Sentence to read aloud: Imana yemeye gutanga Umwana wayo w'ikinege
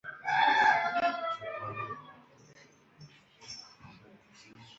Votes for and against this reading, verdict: 2, 3, rejected